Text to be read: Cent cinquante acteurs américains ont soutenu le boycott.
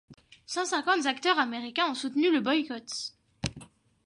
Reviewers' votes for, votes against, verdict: 1, 2, rejected